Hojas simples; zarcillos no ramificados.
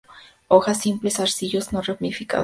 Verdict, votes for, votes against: accepted, 2, 0